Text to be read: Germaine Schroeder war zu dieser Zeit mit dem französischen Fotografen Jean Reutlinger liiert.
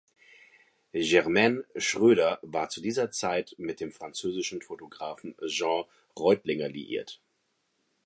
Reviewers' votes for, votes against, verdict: 2, 0, accepted